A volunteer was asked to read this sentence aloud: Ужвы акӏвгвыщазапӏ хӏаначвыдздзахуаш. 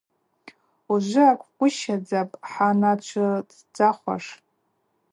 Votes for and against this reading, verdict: 2, 0, accepted